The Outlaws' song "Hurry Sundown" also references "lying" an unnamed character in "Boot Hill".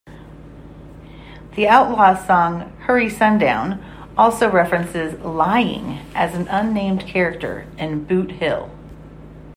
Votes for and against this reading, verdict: 0, 2, rejected